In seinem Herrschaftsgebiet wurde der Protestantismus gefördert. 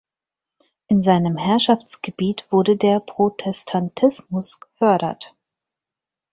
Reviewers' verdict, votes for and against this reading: accepted, 4, 0